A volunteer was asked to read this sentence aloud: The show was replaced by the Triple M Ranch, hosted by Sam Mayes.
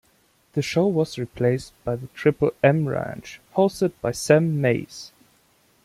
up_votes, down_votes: 0, 2